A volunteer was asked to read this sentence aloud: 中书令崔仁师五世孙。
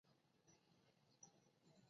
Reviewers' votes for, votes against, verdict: 2, 3, rejected